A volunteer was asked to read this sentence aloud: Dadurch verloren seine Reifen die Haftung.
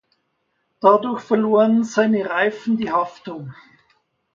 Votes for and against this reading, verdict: 2, 0, accepted